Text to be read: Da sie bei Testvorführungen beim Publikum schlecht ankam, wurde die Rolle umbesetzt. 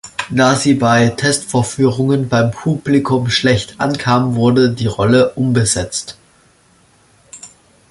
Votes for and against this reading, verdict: 2, 0, accepted